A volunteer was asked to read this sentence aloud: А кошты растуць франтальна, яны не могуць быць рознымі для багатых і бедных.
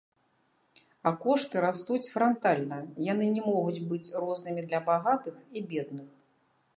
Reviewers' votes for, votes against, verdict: 2, 0, accepted